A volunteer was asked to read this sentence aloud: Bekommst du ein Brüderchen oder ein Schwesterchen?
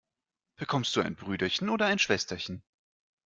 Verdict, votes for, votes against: accepted, 2, 0